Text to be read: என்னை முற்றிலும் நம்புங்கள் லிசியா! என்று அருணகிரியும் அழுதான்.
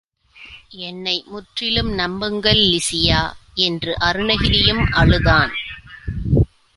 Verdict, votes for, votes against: accepted, 2, 0